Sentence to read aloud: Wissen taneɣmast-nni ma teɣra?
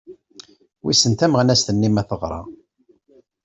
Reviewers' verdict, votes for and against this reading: rejected, 1, 2